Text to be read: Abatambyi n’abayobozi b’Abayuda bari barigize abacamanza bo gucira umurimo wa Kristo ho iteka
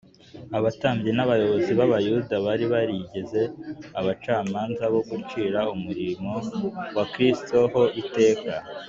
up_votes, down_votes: 2, 0